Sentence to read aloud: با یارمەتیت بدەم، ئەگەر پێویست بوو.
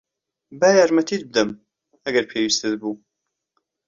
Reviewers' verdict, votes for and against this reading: rejected, 1, 2